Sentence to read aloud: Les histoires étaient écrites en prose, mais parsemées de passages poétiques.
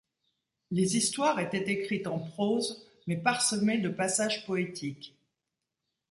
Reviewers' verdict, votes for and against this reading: accepted, 2, 0